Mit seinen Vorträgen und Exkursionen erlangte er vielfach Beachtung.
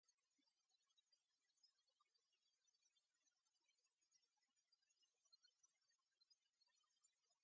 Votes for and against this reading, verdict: 0, 2, rejected